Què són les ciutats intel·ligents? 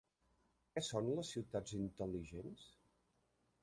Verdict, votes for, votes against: rejected, 1, 2